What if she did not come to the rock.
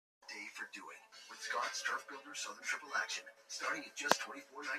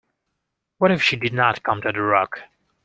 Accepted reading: second